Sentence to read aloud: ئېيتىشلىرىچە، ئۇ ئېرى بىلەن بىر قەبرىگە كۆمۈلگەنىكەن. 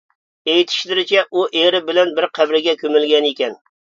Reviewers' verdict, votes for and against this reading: accepted, 2, 1